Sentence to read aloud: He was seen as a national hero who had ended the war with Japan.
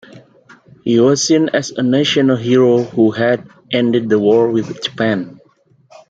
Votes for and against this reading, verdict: 2, 0, accepted